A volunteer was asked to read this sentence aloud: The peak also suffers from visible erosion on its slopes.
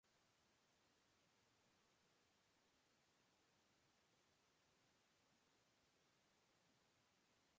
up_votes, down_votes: 0, 2